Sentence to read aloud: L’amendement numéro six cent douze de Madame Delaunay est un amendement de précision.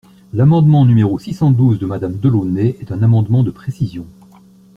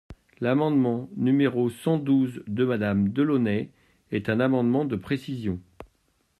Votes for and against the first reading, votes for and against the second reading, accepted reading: 2, 0, 0, 2, first